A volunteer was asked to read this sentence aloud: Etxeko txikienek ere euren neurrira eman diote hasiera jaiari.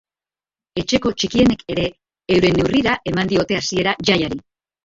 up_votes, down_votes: 0, 2